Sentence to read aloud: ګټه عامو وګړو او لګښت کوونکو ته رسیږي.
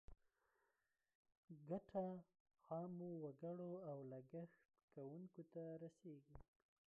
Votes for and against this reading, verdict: 1, 2, rejected